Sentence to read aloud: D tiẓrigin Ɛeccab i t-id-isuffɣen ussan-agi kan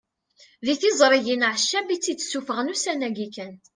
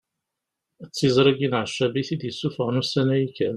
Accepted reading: second